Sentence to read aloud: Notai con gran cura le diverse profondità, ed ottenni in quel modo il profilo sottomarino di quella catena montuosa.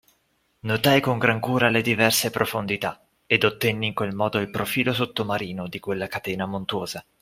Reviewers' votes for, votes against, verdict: 2, 0, accepted